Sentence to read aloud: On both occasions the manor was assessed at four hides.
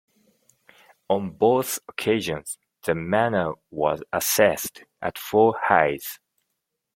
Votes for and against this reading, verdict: 2, 0, accepted